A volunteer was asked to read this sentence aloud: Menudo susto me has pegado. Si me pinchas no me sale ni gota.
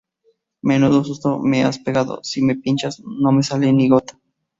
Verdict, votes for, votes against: accepted, 4, 0